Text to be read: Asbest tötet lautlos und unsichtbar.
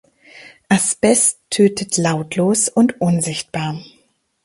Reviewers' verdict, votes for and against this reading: accepted, 2, 0